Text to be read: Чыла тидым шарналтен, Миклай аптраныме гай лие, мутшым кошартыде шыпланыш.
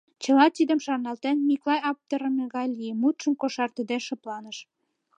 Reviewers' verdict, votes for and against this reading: accepted, 2, 0